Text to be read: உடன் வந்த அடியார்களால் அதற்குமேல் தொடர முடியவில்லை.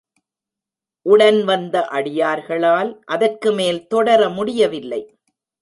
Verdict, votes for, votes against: rejected, 0, 2